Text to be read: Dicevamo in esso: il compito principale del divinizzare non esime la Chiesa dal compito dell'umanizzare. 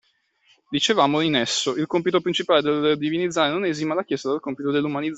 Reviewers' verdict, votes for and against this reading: rejected, 0, 2